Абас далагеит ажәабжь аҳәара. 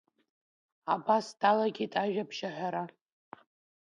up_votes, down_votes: 2, 1